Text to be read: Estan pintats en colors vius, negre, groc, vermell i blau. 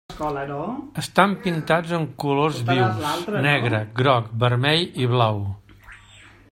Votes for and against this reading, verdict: 1, 2, rejected